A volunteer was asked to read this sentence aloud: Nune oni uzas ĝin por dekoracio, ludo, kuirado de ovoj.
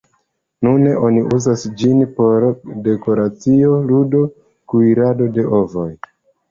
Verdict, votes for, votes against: accepted, 2, 0